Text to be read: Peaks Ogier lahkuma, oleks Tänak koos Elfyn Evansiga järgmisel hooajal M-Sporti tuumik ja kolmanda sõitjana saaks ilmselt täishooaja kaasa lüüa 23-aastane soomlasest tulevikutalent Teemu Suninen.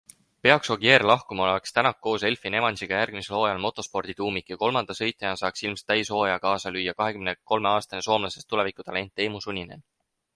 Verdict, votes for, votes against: rejected, 0, 2